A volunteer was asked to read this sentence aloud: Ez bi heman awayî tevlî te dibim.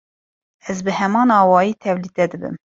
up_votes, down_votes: 2, 0